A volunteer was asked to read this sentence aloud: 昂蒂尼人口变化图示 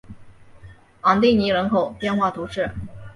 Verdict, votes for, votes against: accepted, 2, 0